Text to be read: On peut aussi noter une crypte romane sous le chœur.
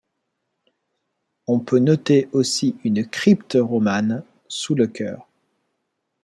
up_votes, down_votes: 0, 2